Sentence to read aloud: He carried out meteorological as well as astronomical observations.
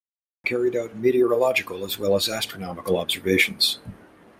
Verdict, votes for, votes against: rejected, 1, 2